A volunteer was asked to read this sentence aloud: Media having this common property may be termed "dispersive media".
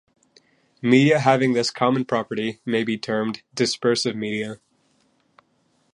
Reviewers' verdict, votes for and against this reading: accepted, 2, 0